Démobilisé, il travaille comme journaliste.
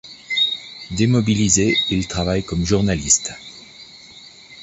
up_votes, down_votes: 2, 0